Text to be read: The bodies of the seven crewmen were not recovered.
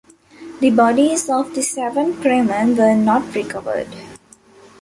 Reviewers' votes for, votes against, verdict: 0, 2, rejected